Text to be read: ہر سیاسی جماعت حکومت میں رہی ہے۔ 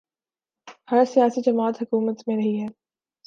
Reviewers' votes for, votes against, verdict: 2, 2, rejected